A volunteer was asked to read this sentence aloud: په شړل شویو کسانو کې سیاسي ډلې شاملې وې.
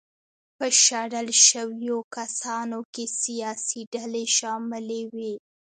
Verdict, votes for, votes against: rejected, 1, 2